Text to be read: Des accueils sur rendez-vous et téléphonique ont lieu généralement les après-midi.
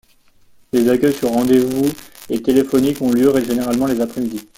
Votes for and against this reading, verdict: 2, 0, accepted